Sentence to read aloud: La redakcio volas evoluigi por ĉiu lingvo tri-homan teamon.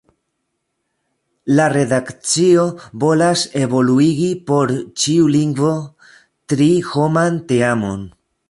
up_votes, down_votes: 2, 0